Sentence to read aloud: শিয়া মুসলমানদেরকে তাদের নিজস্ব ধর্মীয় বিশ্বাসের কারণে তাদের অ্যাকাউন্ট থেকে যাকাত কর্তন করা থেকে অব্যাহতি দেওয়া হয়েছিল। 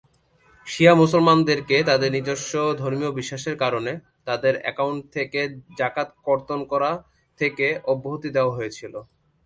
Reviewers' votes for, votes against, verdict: 2, 0, accepted